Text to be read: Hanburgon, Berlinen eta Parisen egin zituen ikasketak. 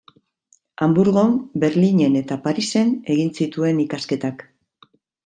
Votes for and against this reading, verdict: 2, 0, accepted